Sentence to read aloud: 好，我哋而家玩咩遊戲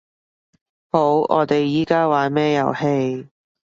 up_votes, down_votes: 1, 3